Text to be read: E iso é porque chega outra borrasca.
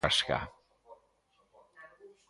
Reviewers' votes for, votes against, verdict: 0, 2, rejected